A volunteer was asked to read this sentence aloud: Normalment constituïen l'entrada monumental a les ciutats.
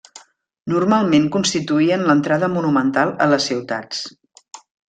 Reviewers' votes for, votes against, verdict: 3, 0, accepted